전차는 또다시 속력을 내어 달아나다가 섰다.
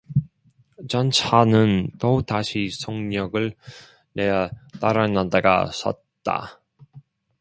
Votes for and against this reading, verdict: 2, 0, accepted